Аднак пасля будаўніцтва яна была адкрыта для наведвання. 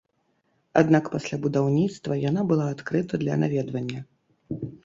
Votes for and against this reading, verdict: 2, 0, accepted